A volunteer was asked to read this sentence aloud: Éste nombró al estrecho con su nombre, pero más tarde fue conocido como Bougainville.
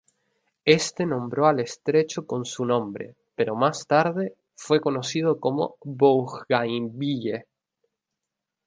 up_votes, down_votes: 2, 0